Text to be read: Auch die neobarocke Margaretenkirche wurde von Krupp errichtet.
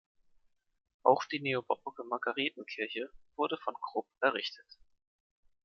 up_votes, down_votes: 2, 0